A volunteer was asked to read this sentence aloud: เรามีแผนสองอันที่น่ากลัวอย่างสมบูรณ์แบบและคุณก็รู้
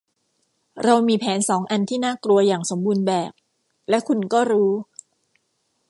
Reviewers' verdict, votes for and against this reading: accepted, 2, 0